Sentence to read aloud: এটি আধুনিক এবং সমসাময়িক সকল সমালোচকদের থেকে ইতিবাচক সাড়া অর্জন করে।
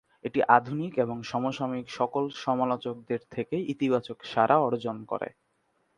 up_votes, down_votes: 2, 0